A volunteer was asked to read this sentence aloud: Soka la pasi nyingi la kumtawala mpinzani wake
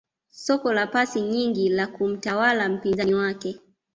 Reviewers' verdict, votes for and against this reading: accepted, 2, 1